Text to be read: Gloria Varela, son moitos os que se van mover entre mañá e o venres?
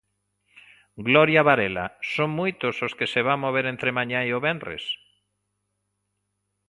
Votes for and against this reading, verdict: 2, 0, accepted